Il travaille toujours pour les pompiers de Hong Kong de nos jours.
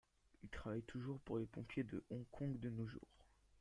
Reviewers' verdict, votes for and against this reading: accepted, 2, 0